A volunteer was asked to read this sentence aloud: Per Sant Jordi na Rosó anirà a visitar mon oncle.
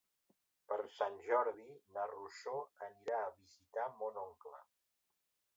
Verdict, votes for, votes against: rejected, 0, 2